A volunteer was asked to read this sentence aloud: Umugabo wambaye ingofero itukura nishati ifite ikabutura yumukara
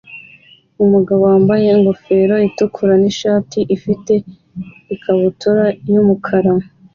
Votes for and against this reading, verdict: 2, 0, accepted